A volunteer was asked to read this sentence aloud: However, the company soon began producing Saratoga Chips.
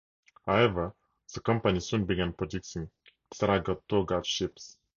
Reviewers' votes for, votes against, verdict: 2, 0, accepted